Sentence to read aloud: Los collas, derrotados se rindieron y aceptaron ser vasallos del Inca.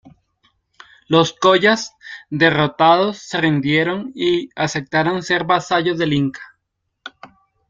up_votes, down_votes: 3, 0